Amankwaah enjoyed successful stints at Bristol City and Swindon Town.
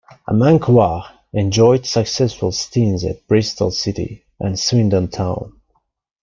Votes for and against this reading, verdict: 1, 2, rejected